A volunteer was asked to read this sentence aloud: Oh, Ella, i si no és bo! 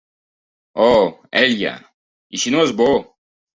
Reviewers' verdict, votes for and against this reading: accepted, 2, 0